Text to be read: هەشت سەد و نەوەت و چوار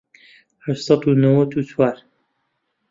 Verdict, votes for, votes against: accepted, 2, 0